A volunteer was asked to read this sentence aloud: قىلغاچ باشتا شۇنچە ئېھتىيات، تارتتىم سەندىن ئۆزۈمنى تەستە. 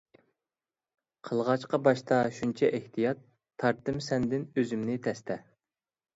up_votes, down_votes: 0, 2